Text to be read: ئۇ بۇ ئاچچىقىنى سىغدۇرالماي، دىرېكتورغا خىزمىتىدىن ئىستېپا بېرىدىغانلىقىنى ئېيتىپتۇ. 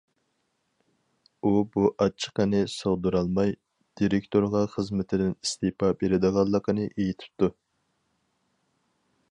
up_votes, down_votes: 4, 0